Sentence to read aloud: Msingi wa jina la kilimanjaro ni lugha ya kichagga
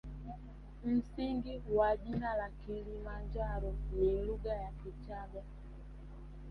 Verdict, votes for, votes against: rejected, 0, 2